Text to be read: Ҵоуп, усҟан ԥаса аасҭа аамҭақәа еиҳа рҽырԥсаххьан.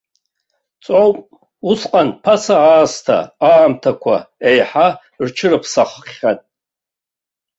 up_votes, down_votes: 2, 0